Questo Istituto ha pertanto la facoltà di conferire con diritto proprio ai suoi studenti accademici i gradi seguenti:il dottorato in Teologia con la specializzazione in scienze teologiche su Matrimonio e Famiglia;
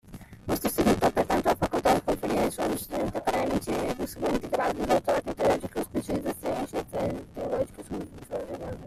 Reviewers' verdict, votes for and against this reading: rejected, 0, 2